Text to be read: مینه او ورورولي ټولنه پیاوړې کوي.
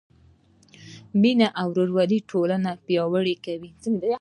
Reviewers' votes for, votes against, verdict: 2, 0, accepted